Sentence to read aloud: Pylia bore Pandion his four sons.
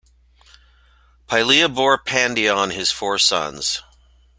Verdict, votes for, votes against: accepted, 2, 0